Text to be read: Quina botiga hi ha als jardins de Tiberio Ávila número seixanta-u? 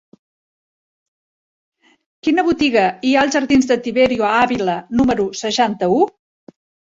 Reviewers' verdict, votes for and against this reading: accepted, 2, 0